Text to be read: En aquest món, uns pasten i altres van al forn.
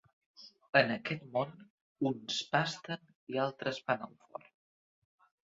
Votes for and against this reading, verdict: 2, 0, accepted